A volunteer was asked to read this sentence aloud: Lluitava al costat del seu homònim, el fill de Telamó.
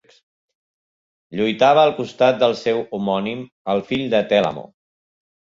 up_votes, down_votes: 1, 2